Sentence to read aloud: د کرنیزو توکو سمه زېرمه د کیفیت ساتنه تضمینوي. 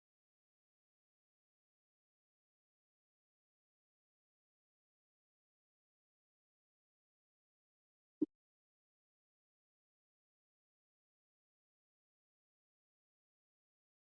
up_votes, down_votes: 1, 2